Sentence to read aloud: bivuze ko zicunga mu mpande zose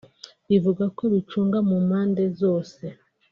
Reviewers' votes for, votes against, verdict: 2, 1, accepted